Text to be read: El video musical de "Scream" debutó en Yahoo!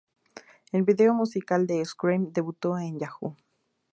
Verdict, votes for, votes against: accepted, 2, 0